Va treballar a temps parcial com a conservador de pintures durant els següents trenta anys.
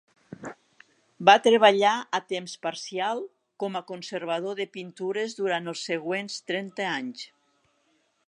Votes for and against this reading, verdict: 4, 0, accepted